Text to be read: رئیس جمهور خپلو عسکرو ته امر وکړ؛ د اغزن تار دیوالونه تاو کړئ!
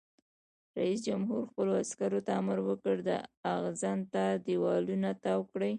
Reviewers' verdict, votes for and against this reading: rejected, 0, 2